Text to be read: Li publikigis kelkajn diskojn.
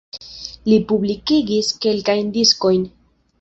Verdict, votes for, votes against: accepted, 2, 1